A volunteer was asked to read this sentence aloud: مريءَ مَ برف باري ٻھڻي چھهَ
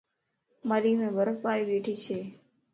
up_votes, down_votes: 2, 0